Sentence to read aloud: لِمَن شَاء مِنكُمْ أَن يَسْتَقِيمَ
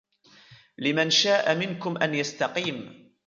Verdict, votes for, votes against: rejected, 1, 3